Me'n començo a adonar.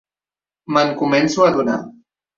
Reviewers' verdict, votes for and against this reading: accepted, 2, 0